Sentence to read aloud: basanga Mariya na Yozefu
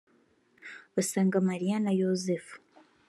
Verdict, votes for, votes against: rejected, 1, 2